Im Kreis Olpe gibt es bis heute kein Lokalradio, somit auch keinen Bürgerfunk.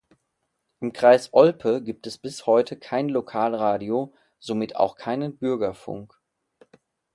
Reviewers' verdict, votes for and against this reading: accepted, 2, 0